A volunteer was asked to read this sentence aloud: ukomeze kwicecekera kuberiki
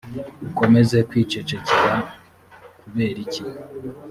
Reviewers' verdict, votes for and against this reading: accepted, 2, 0